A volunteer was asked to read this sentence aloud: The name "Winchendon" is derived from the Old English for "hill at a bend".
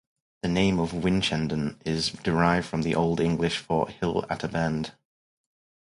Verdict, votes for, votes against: rejected, 2, 2